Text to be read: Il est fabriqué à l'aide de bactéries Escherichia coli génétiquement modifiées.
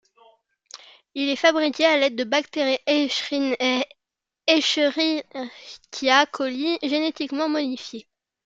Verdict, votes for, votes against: rejected, 0, 2